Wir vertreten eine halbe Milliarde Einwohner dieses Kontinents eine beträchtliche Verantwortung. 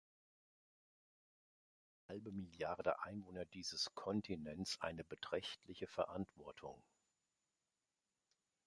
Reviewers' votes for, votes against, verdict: 0, 2, rejected